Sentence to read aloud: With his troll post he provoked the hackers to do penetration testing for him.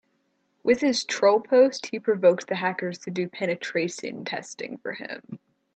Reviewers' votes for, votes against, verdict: 1, 2, rejected